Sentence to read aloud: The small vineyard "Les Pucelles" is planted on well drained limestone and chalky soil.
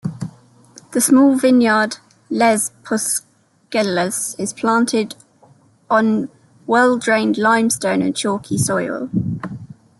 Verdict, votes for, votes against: rejected, 0, 2